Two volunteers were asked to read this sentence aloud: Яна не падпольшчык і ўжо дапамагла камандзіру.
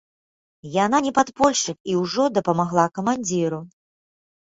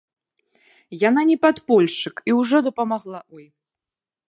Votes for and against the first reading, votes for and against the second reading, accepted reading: 4, 1, 0, 2, first